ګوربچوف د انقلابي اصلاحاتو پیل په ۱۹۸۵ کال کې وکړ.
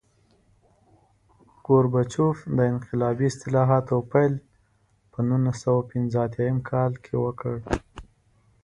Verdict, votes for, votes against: rejected, 0, 2